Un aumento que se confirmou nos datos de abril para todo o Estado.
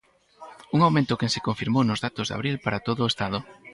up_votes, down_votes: 4, 0